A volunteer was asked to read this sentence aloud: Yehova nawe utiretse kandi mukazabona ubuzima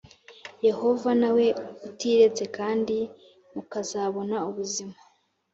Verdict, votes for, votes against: accepted, 2, 0